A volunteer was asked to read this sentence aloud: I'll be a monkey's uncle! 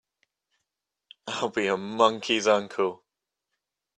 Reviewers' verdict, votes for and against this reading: accepted, 3, 0